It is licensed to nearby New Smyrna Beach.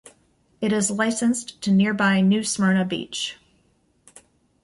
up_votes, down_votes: 2, 0